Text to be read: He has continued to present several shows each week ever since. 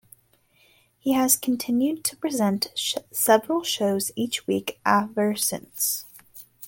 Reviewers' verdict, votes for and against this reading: accepted, 2, 1